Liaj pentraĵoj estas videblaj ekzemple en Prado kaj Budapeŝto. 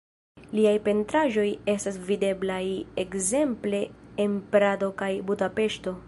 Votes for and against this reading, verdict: 3, 1, accepted